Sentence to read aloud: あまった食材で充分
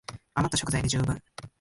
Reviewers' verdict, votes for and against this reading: accepted, 2, 0